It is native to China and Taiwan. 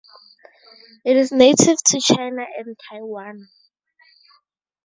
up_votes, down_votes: 4, 0